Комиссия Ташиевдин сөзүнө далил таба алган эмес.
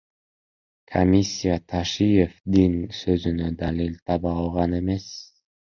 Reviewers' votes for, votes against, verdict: 1, 2, rejected